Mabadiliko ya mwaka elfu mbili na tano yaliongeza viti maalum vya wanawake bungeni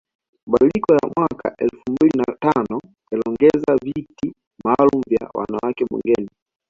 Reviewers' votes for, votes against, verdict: 2, 1, accepted